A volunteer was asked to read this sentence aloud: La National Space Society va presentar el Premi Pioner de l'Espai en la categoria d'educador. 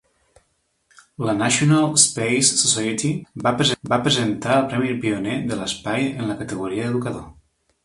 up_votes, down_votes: 0, 2